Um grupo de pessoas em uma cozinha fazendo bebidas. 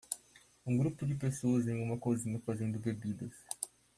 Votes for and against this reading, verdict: 2, 0, accepted